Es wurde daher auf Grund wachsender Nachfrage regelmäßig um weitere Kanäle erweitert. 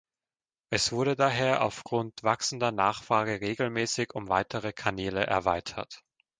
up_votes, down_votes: 2, 0